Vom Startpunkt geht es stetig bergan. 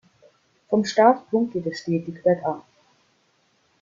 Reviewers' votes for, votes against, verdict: 1, 2, rejected